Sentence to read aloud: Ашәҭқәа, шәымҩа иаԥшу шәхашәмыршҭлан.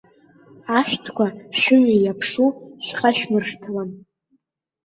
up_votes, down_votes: 2, 0